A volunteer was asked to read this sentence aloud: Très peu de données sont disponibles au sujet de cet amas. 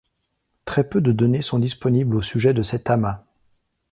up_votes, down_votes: 2, 0